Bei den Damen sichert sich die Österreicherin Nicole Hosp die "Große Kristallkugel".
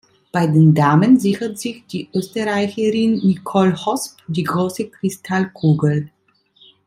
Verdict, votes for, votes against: accepted, 2, 0